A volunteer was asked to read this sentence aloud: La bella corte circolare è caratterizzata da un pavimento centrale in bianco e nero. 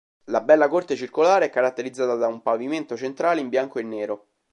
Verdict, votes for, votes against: accepted, 2, 0